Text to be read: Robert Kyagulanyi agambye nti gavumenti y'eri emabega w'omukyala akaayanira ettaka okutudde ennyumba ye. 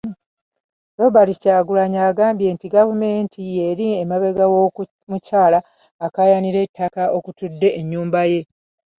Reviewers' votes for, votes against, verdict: 0, 2, rejected